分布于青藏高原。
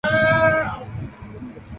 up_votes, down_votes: 0, 2